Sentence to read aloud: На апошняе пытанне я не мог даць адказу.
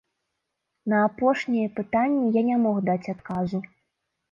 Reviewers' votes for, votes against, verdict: 2, 0, accepted